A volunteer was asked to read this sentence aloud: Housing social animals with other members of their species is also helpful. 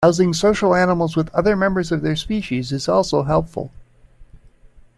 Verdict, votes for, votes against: rejected, 0, 2